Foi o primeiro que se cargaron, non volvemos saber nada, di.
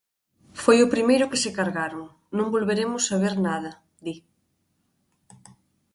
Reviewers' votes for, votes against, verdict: 0, 2, rejected